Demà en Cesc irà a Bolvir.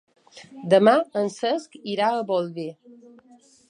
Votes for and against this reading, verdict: 1, 2, rejected